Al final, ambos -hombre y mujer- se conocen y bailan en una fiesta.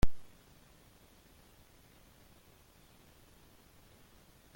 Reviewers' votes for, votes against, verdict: 1, 2, rejected